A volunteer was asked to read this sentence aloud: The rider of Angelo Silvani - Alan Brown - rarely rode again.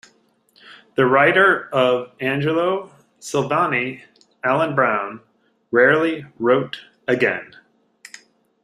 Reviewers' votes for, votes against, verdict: 1, 2, rejected